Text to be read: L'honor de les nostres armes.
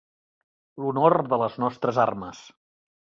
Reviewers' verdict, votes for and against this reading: accepted, 3, 0